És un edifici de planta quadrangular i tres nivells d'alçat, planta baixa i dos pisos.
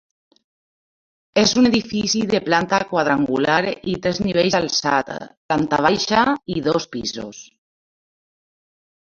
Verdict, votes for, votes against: rejected, 1, 2